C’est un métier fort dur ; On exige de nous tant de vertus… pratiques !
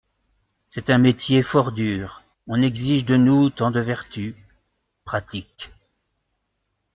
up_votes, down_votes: 2, 0